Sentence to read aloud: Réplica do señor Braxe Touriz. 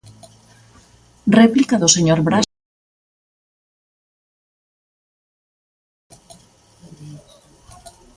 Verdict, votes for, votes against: rejected, 0, 2